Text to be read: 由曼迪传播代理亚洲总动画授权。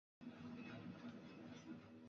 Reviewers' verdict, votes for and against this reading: rejected, 0, 2